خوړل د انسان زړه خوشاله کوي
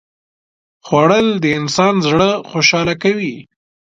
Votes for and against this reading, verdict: 4, 0, accepted